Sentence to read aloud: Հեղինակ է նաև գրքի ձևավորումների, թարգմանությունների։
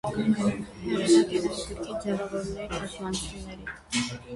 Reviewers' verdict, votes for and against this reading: rejected, 0, 2